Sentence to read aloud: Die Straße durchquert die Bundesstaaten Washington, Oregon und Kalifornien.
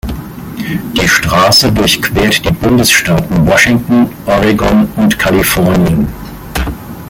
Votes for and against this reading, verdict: 2, 0, accepted